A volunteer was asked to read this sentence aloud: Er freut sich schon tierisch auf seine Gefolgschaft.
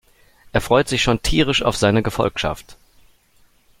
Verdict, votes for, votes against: accepted, 2, 0